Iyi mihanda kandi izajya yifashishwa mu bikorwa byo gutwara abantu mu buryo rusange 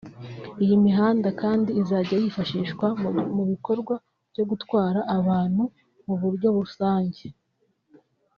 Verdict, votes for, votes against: rejected, 1, 2